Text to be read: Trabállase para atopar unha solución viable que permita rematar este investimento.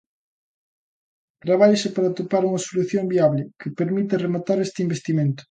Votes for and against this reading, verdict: 2, 0, accepted